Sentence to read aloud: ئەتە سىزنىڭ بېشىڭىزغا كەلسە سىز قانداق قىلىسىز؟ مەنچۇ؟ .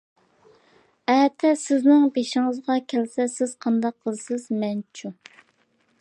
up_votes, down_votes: 2, 0